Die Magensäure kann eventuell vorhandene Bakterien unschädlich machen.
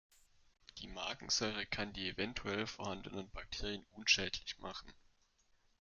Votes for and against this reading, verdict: 1, 2, rejected